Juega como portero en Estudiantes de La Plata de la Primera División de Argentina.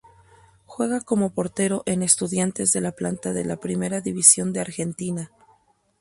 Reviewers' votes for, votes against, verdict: 2, 2, rejected